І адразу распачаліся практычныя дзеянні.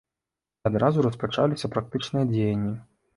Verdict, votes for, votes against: rejected, 0, 2